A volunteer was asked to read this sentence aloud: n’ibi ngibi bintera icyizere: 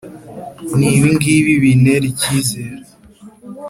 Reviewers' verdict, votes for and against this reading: accepted, 2, 0